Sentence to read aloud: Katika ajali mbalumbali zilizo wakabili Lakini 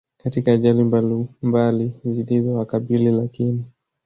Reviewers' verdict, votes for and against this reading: rejected, 1, 2